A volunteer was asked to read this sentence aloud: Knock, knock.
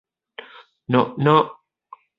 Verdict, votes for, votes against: accepted, 2, 0